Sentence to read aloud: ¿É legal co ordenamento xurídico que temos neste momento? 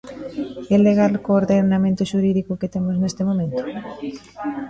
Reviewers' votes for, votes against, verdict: 1, 2, rejected